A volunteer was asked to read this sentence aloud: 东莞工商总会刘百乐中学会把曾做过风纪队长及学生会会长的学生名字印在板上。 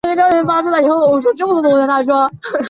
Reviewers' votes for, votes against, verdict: 0, 4, rejected